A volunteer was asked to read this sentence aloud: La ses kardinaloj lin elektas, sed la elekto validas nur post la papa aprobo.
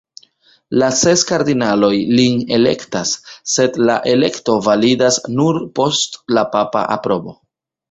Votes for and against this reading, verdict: 1, 2, rejected